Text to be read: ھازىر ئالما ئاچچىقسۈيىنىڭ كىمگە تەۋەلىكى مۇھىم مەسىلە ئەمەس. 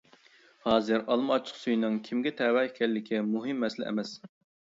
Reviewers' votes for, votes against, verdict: 1, 2, rejected